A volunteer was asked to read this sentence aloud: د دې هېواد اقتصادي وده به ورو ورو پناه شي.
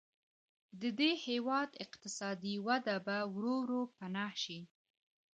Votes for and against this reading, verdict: 3, 0, accepted